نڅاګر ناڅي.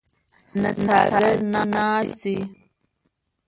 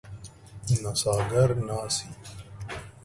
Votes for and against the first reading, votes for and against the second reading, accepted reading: 1, 2, 2, 1, second